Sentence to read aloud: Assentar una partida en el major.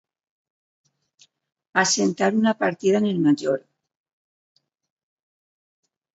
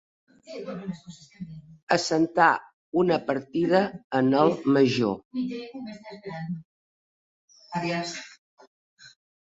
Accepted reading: first